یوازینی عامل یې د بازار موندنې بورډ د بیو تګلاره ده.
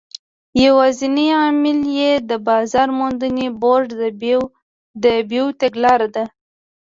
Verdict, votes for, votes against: rejected, 1, 2